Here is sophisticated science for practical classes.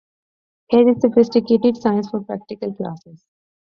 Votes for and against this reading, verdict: 2, 0, accepted